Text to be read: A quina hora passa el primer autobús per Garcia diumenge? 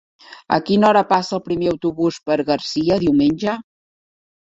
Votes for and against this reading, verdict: 3, 0, accepted